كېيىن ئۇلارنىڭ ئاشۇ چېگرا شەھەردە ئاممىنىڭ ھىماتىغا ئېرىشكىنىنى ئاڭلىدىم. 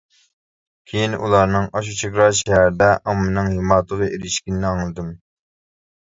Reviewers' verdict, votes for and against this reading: accepted, 2, 1